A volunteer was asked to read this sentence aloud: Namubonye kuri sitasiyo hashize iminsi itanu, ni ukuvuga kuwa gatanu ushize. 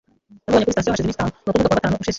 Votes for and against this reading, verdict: 0, 2, rejected